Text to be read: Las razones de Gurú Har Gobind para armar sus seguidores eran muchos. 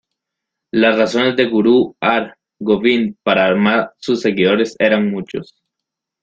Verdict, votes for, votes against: accepted, 2, 1